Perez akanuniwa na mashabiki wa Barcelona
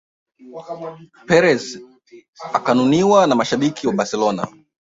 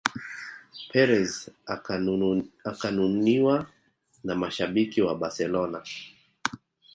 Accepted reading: second